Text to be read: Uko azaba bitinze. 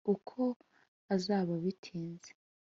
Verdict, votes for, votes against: accepted, 2, 0